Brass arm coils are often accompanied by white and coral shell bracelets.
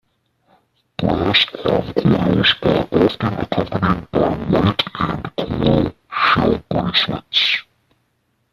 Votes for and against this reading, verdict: 0, 2, rejected